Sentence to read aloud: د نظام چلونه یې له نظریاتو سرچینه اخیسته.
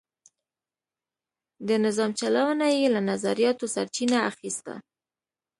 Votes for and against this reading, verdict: 2, 0, accepted